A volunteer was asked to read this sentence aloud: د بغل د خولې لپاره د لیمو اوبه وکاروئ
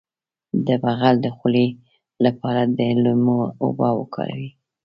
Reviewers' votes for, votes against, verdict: 1, 2, rejected